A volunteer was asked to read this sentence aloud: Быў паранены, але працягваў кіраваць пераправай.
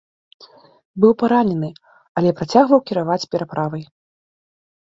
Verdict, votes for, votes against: accepted, 2, 0